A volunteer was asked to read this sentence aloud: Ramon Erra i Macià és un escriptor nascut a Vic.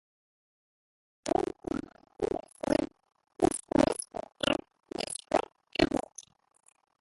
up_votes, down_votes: 0, 2